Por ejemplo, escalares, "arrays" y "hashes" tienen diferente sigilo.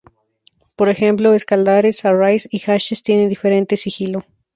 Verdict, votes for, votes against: accepted, 2, 0